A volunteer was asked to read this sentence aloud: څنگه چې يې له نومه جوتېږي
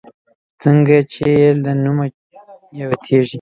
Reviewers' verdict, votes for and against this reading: accepted, 2, 0